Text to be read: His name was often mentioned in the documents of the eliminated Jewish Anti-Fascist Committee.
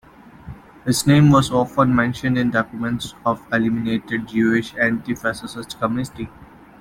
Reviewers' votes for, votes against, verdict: 0, 2, rejected